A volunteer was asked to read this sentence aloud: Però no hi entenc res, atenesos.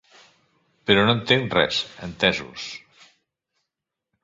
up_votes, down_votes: 0, 3